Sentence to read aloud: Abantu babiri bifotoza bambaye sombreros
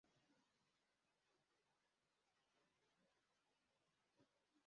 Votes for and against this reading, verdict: 0, 2, rejected